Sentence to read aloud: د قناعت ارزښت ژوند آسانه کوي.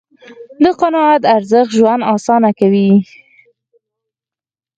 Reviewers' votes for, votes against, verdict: 4, 0, accepted